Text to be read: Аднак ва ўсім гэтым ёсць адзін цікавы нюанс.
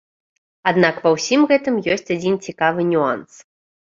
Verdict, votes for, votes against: accepted, 2, 0